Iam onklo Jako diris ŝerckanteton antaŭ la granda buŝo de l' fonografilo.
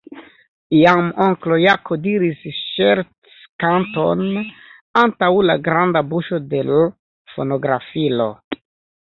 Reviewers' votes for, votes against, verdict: 1, 2, rejected